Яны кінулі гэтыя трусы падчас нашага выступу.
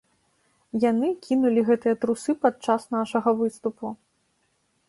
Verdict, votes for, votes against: accepted, 2, 0